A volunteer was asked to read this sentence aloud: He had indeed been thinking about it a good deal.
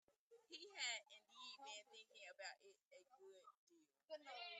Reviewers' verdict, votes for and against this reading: rejected, 0, 2